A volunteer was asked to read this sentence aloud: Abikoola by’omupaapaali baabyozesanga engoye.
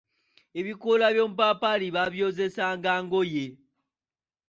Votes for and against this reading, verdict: 2, 1, accepted